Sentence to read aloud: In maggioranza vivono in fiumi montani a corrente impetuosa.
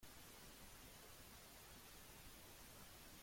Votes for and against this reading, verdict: 0, 2, rejected